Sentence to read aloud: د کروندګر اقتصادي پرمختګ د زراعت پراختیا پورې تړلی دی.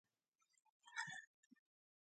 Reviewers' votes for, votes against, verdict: 1, 2, rejected